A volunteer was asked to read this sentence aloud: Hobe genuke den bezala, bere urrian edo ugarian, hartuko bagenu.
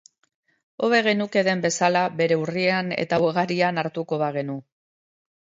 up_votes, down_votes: 0, 2